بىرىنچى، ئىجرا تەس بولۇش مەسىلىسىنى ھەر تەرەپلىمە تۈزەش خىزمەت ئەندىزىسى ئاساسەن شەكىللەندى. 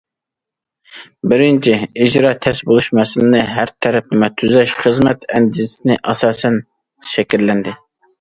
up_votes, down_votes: 1, 2